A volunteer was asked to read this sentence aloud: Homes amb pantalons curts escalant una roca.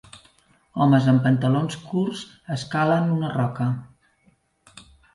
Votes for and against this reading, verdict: 0, 2, rejected